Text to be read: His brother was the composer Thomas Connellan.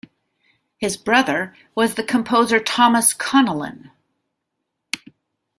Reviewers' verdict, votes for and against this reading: accepted, 2, 0